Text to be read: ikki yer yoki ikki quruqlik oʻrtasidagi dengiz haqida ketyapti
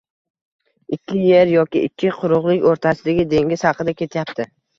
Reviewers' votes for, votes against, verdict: 1, 2, rejected